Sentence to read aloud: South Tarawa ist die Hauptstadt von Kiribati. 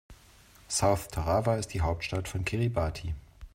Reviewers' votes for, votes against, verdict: 2, 0, accepted